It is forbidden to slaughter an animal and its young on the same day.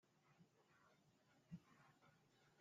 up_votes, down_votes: 0, 2